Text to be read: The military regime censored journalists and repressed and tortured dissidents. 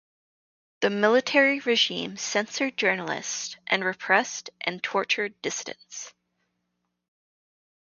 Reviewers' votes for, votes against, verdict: 2, 0, accepted